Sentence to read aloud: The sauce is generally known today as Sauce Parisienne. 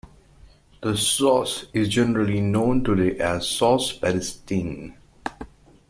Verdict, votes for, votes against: rejected, 0, 2